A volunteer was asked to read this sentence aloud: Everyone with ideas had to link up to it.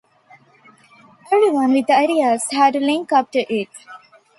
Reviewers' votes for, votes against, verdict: 2, 0, accepted